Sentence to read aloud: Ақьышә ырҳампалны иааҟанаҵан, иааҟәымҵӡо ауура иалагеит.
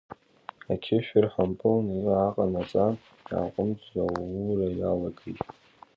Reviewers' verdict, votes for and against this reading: accepted, 2, 1